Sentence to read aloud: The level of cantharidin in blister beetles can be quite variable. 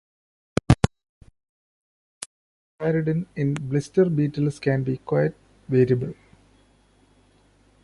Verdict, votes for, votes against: rejected, 1, 2